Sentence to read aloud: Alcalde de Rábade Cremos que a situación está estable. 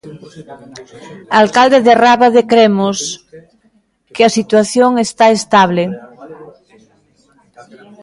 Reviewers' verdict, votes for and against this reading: accepted, 2, 1